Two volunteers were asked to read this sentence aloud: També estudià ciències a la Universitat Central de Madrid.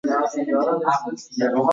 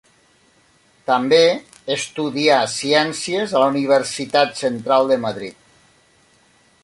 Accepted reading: second